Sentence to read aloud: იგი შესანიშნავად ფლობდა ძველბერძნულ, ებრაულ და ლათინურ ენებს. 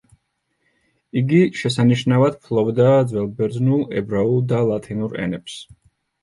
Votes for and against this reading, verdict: 2, 0, accepted